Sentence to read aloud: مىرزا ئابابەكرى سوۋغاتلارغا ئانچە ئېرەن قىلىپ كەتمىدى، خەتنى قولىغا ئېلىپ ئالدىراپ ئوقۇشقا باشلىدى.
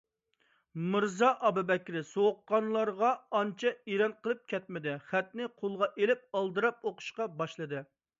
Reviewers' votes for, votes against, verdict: 1, 2, rejected